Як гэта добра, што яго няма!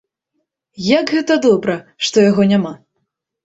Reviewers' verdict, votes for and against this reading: accepted, 2, 0